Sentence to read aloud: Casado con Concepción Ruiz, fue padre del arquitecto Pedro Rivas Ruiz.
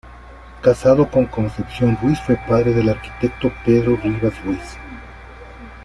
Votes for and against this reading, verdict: 2, 0, accepted